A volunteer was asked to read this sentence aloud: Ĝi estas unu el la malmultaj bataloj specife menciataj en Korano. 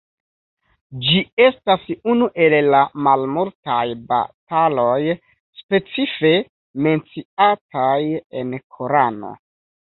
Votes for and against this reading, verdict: 1, 2, rejected